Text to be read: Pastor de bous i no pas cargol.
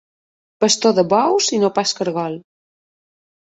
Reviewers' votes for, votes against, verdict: 2, 0, accepted